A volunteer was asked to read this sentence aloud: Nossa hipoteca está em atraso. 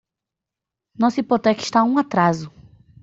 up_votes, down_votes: 1, 2